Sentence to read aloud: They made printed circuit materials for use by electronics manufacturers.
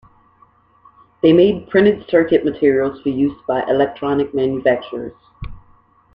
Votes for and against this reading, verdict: 3, 0, accepted